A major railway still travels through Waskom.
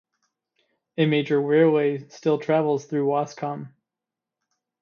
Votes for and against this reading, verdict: 2, 0, accepted